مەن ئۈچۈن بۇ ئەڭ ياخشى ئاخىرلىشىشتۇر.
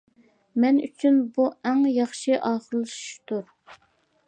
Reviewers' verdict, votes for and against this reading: accepted, 2, 0